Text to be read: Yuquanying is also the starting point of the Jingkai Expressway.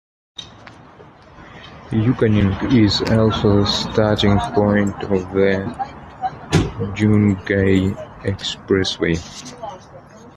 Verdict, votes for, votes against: accepted, 2, 1